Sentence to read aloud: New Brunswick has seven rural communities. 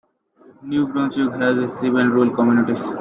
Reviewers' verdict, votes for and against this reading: accepted, 2, 1